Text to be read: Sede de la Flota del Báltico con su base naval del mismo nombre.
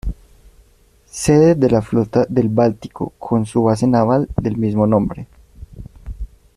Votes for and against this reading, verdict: 2, 0, accepted